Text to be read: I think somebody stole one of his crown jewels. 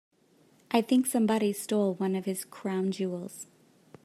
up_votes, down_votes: 2, 0